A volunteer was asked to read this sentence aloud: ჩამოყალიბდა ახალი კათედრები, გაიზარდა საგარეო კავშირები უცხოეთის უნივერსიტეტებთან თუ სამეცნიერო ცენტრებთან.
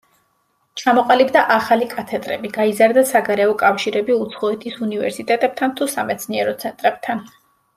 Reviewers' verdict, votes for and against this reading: accepted, 2, 0